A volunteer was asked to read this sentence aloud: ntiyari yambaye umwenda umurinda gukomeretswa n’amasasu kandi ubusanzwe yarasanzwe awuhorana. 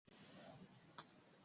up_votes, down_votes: 1, 2